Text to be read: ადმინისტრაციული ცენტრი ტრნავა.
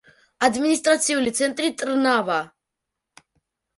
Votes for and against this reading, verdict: 0, 2, rejected